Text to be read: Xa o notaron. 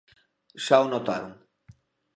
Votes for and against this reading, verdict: 2, 0, accepted